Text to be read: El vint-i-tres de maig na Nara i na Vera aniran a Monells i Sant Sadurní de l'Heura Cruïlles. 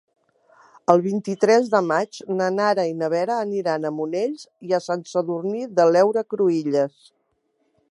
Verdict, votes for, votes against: rejected, 1, 2